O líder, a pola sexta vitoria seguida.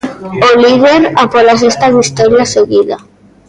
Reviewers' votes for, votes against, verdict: 0, 2, rejected